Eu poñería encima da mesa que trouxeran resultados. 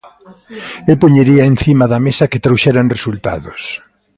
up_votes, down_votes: 1, 2